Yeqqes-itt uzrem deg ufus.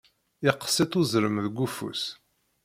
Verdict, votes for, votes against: rejected, 0, 2